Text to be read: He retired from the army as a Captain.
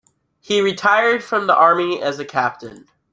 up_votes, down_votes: 2, 0